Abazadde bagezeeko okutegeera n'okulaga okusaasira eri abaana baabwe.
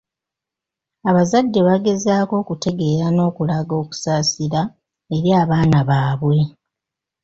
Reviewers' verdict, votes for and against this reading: rejected, 0, 2